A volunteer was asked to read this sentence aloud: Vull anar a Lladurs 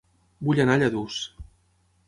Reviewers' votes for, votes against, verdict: 6, 0, accepted